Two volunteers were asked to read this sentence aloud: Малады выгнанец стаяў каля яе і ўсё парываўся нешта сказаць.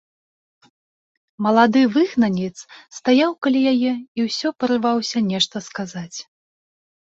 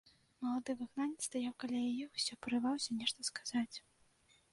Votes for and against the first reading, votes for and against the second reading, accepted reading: 2, 1, 1, 2, first